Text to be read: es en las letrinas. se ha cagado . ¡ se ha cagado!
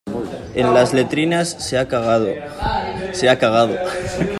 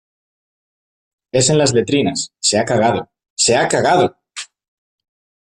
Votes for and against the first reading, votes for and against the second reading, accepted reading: 0, 2, 2, 1, second